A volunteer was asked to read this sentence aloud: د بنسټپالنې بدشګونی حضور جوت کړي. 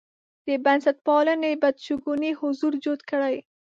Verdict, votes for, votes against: rejected, 1, 2